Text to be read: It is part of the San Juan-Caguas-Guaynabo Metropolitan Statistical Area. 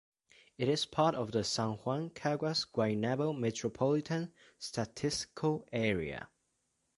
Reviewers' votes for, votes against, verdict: 1, 2, rejected